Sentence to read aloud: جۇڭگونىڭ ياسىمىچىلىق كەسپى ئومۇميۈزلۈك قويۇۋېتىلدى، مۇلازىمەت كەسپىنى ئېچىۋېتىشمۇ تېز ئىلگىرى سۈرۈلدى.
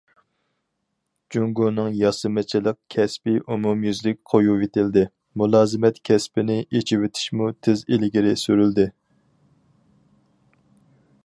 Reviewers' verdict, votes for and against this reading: rejected, 2, 2